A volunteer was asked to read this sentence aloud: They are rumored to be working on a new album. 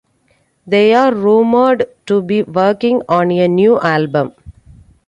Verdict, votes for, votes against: accepted, 2, 0